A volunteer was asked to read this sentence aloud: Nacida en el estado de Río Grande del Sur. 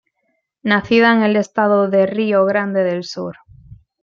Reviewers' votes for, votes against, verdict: 2, 0, accepted